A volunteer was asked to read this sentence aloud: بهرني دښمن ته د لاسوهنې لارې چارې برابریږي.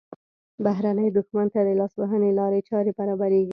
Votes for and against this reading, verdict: 1, 2, rejected